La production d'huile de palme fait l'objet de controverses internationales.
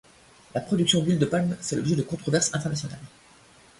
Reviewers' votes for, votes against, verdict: 0, 2, rejected